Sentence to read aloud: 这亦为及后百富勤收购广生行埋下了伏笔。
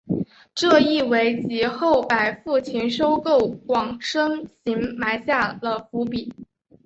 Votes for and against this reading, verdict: 0, 2, rejected